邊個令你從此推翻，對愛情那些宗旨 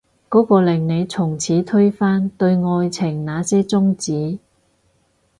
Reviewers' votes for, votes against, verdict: 2, 4, rejected